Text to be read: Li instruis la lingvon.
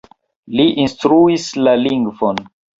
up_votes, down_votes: 2, 1